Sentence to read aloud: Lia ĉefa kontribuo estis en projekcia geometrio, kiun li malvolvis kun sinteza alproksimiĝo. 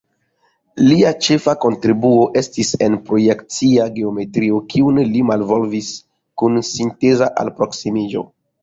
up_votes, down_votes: 0, 2